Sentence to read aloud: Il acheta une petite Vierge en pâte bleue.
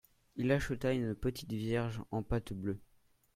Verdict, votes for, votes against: accepted, 2, 0